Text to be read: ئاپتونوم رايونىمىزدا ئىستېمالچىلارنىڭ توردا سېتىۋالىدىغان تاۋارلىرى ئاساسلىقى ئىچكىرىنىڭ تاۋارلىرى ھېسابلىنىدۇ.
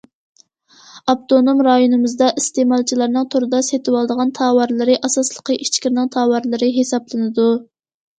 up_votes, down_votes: 2, 0